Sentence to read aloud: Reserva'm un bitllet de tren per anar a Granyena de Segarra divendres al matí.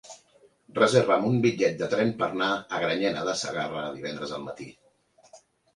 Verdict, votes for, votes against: rejected, 0, 2